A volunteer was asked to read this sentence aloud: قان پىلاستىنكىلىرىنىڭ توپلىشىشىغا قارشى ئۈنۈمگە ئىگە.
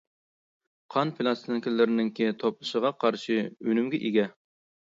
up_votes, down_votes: 0, 2